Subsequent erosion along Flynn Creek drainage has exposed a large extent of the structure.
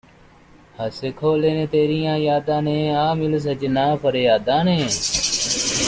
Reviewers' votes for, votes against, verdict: 0, 2, rejected